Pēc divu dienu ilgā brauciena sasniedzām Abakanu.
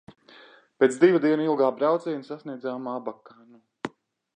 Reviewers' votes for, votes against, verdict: 1, 2, rejected